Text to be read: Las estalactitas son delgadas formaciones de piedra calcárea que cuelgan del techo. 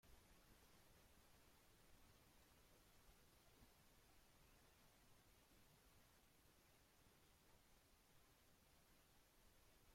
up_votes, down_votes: 0, 2